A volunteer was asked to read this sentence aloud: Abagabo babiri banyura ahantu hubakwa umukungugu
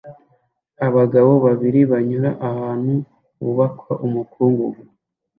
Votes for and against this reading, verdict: 2, 0, accepted